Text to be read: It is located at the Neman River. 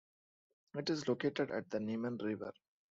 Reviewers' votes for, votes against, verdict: 2, 0, accepted